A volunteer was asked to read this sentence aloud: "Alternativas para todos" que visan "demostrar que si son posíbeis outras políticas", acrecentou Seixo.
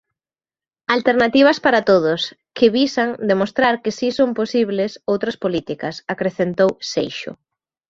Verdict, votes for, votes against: rejected, 0, 2